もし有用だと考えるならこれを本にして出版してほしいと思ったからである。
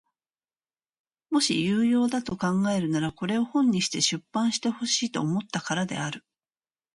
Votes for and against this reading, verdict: 2, 0, accepted